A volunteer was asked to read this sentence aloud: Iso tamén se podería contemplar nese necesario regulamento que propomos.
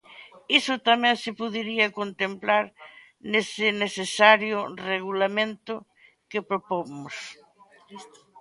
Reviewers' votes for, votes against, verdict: 1, 2, rejected